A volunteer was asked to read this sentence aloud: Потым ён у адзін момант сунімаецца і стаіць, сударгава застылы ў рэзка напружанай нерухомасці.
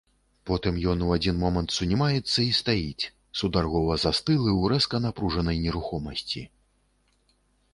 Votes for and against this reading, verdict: 1, 2, rejected